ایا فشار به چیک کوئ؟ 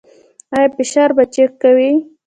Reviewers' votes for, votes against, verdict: 2, 1, accepted